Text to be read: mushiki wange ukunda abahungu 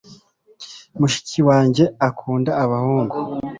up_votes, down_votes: 1, 2